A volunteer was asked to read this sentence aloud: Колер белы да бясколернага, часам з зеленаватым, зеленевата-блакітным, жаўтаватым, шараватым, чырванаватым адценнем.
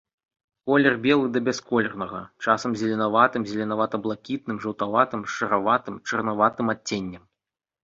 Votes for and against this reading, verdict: 0, 2, rejected